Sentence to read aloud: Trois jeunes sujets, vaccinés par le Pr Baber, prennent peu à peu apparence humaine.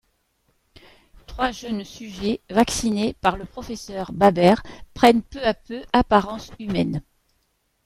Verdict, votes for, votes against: accepted, 2, 0